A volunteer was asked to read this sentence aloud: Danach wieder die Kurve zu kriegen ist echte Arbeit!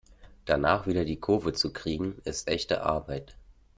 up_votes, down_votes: 1, 2